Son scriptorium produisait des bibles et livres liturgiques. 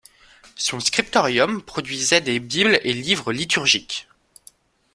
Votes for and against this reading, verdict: 2, 1, accepted